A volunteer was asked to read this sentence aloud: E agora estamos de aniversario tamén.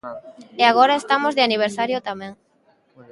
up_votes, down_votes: 1, 2